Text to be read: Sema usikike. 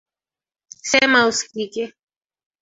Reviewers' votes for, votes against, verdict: 2, 1, accepted